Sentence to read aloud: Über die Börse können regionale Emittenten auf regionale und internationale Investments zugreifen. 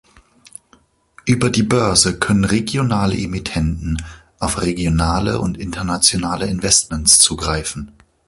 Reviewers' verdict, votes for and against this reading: accepted, 2, 0